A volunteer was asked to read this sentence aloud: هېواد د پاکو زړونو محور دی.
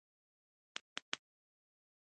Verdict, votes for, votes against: rejected, 1, 2